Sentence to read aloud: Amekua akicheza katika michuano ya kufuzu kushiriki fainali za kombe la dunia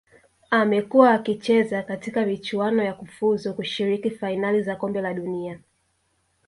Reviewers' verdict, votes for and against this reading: rejected, 1, 2